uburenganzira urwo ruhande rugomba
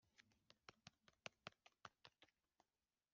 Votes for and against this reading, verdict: 0, 2, rejected